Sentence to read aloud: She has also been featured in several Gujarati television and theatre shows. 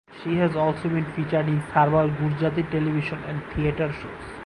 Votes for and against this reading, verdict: 4, 0, accepted